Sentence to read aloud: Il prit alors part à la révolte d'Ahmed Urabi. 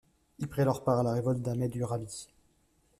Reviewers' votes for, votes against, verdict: 2, 0, accepted